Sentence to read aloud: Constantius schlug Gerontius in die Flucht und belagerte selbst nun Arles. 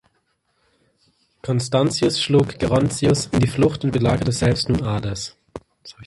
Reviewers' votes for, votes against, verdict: 0, 2, rejected